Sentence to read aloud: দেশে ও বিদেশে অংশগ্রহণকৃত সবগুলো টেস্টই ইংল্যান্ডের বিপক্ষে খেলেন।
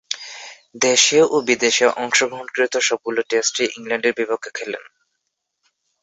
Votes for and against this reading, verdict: 2, 0, accepted